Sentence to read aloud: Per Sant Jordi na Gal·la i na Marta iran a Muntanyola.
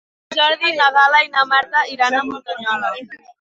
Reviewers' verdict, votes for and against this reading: rejected, 2, 4